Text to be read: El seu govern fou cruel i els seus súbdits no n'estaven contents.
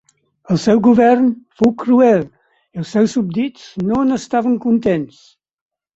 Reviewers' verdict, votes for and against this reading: accepted, 4, 0